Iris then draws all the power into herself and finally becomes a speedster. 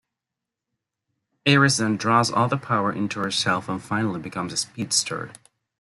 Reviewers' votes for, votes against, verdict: 1, 2, rejected